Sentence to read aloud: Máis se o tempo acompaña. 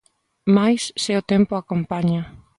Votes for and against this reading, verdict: 2, 0, accepted